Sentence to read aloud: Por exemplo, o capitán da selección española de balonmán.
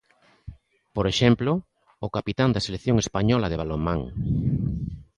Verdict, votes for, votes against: accepted, 2, 0